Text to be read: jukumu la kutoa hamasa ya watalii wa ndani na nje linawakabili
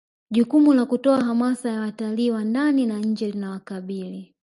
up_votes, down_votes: 1, 2